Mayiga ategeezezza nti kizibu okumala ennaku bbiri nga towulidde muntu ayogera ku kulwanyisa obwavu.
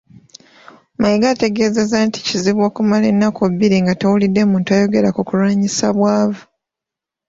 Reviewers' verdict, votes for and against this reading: rejected, 0, 2